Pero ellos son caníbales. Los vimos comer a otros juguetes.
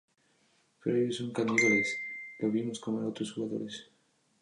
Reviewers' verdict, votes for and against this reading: accepted, 2, 0